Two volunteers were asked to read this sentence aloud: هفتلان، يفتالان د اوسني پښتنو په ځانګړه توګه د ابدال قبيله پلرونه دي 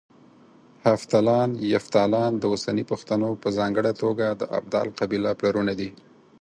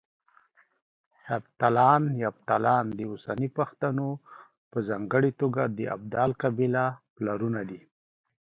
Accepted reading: second